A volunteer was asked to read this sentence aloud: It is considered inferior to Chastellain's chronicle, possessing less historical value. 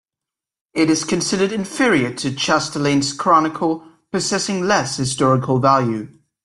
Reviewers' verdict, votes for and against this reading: accepted, 2, 0